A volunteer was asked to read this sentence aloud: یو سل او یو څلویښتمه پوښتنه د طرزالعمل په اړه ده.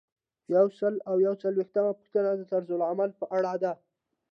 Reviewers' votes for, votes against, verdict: 2, 0, accepted